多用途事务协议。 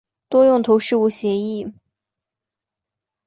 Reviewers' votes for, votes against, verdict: 2, 0, accepted